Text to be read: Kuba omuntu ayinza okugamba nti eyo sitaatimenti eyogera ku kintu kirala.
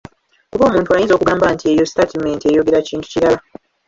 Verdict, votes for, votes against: rejected, 0, 2